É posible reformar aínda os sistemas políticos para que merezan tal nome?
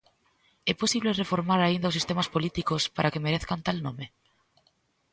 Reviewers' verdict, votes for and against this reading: rejected, 0, 2